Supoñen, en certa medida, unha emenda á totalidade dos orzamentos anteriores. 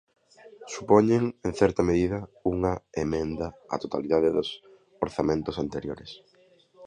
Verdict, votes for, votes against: accepted, 2, 0